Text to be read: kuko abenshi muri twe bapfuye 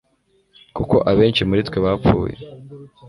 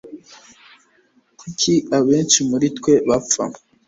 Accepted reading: first